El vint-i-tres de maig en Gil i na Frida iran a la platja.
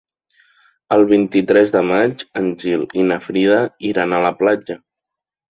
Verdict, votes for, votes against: accepted, 3, 0